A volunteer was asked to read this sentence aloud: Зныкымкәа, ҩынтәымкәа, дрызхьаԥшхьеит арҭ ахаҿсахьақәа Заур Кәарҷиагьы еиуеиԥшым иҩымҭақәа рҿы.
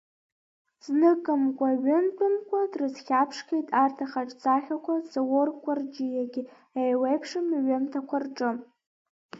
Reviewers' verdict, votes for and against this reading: accepted, 2, 1